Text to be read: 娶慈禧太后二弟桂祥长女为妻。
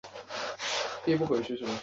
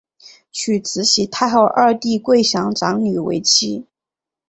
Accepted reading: second